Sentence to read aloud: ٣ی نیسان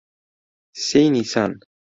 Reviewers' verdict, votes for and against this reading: rejected, 0, 2